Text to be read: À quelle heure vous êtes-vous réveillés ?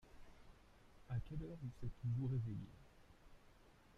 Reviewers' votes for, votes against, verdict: 0, 2, rejected